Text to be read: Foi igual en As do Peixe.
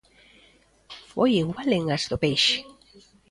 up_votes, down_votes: 1, 2